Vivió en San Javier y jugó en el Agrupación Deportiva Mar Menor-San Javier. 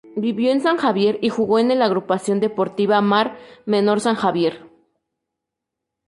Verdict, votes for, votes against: accepted, 2, 0